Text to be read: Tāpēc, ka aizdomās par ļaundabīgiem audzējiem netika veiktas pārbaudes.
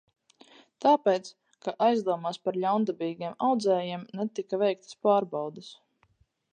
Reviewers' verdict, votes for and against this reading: accepted, 4, 0